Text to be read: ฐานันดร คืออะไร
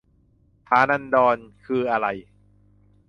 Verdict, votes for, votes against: accepted, 2, 0